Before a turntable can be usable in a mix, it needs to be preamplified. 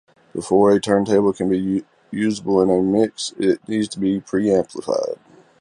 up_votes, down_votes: 0, 2